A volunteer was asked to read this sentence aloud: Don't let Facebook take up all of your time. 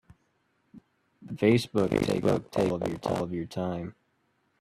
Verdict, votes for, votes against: rejected, 0, 2